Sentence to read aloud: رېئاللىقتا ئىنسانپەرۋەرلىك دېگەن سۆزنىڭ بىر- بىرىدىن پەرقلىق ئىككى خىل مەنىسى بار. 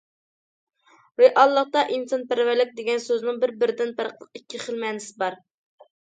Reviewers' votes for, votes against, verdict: 2, 0, accepted